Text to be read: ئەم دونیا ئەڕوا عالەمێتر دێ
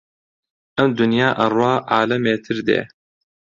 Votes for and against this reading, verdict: 2, 0, accepted